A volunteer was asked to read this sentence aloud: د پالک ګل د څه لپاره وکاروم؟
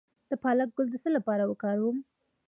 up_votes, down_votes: 2, 0